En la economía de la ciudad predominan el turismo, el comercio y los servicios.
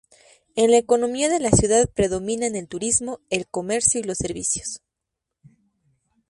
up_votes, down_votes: 2, 0